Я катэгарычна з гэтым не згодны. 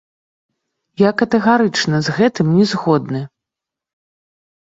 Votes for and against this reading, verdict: 1, 2, rejected